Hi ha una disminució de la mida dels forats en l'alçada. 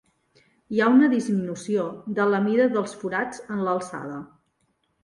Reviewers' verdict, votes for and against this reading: accepted, 3, 0